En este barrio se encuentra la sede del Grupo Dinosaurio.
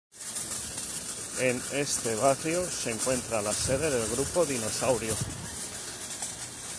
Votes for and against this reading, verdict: 2, 0, accepted